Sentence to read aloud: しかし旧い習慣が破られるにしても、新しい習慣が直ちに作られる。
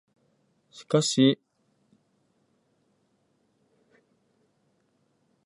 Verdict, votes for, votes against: rejected, 0, 2